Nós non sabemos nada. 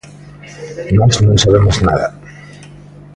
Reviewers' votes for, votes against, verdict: 0, 2, rejected